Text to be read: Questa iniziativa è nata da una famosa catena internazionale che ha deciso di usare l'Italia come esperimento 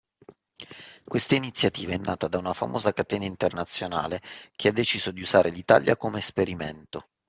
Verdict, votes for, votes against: accepted, 2, 0